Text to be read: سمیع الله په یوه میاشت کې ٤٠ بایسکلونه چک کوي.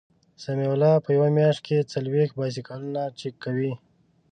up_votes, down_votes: 0, 2